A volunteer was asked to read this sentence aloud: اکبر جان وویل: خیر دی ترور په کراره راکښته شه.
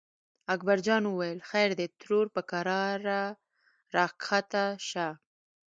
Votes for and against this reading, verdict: 2, 0, accepted